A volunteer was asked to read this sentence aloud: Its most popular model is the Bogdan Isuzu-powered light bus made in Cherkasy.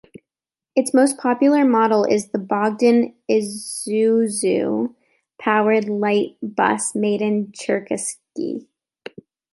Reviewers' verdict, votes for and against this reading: rejected, 0, 2